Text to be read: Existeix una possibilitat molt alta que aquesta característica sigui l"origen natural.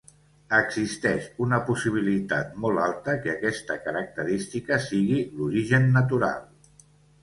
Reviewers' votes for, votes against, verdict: 2, 0, accepted